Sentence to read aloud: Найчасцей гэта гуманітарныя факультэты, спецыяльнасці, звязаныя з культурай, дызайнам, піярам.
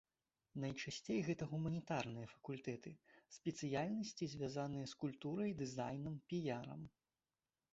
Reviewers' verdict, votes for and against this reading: accepted, 2, 0